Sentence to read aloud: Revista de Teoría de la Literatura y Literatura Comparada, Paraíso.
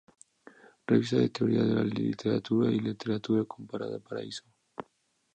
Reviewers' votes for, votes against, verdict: 2, 0, accepted